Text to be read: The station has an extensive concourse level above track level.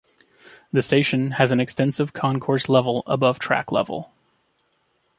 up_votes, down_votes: 2, 0